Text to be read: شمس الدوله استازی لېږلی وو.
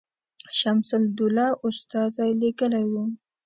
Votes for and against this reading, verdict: 2, 0, accepted